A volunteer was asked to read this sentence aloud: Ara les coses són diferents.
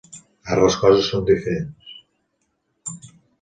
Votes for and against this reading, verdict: 1, 2, rejected